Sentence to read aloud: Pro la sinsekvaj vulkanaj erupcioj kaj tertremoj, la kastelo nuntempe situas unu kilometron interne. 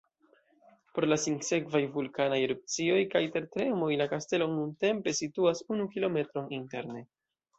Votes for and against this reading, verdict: 1, 2, rejected